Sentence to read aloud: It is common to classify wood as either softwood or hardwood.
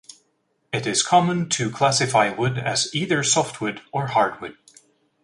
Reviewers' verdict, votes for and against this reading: accepted, 2, 0